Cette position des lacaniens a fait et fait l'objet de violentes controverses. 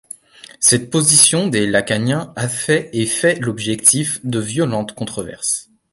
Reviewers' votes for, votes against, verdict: 1, 2, rejected